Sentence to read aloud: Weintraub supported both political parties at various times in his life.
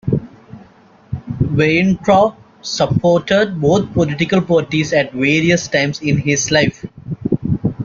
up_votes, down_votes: 2, 0